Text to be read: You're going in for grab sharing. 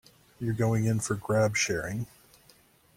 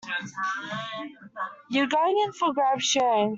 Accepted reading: first